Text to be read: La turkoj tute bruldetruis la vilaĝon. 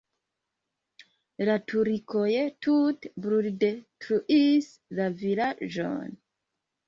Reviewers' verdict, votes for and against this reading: rejected, 0, 2